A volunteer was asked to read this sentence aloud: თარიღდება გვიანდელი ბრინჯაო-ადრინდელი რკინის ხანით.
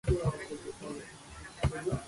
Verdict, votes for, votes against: rejected, 0, 2